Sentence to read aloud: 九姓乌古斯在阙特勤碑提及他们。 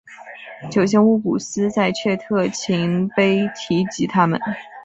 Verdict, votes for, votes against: accepted, 3, 1